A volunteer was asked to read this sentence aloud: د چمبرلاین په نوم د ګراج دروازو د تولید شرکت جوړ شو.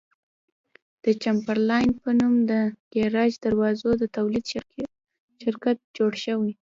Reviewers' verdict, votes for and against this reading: rejected, 0, 2